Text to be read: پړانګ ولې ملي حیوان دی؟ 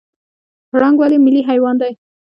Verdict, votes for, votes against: rejected, 1, 2